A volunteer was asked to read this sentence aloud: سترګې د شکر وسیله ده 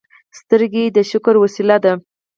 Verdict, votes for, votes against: rejected, 2, 4